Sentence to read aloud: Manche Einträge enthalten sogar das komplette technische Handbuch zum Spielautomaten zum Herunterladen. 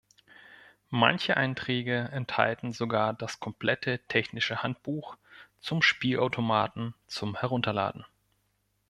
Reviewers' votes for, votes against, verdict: 2, 0, accepted